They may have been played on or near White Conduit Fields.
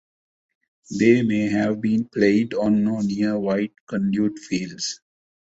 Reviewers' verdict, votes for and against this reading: rejected, 1, 2